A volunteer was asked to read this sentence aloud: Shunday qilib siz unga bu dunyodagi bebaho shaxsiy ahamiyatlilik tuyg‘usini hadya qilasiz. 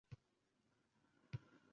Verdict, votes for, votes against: rejected, 0, 2